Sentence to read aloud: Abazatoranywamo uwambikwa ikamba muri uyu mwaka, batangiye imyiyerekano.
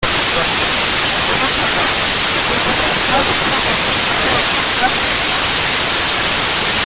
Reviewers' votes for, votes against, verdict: 0, 2, rejected